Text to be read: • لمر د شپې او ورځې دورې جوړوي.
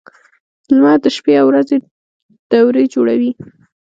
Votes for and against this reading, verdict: 1, 2, rejected